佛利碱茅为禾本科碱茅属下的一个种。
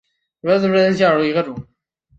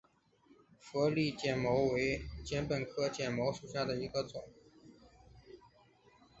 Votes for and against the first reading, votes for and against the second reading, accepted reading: 0, 2, 2, 1, second